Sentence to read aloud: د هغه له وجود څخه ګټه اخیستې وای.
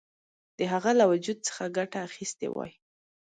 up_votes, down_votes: 2, 0